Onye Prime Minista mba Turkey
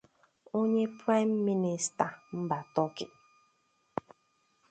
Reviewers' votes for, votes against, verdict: 2, 0, accepted